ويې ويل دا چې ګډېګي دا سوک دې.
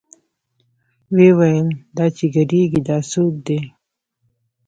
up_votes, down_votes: 0, 2